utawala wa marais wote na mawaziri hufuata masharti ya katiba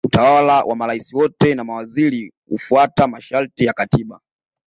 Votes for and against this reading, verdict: 2, 0, accepted